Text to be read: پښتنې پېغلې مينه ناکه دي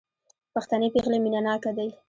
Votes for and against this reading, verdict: 2, 0, accepted